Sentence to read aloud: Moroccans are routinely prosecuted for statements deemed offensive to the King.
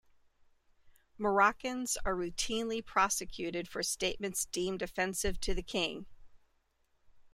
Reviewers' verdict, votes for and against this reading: accepted, 2, 0